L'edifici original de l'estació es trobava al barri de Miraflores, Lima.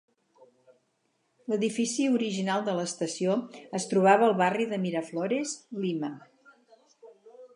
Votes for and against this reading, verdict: 4, 4, rejected